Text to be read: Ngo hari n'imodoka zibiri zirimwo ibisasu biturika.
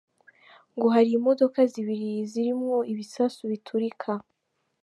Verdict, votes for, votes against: accepted, 2, 0